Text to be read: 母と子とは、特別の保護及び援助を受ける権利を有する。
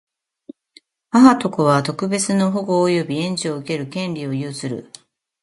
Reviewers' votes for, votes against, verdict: 2, 0, accepted